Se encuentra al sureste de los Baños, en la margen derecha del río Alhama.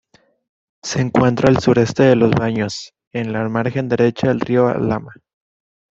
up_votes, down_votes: 2, 0